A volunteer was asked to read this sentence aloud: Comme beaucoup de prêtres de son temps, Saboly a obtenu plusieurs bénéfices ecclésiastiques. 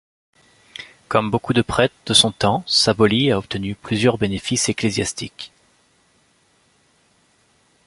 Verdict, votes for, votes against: accepted, 2, 0